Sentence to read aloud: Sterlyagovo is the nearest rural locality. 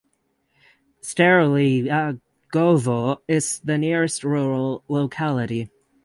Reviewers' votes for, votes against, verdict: 3, 9, rejected